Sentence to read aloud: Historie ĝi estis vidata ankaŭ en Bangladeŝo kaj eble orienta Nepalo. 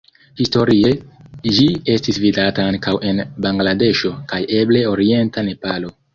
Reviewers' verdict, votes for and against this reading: accepted, 2, 0